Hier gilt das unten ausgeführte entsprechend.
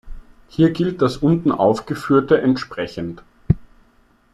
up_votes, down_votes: 0, 2